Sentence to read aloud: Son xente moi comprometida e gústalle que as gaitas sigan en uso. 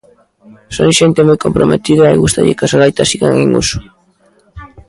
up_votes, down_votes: 1, 2